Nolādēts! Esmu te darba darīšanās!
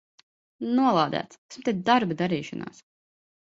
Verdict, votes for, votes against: rejected, 0, 2